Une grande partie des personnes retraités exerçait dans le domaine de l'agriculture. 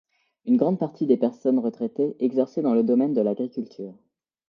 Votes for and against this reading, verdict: 2, 0, accepted